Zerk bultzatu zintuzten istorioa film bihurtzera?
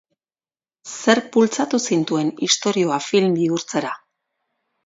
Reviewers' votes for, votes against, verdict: 0, 2, rejected